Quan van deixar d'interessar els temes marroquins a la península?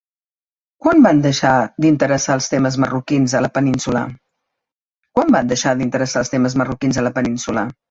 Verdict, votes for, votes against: rejected, 1, 2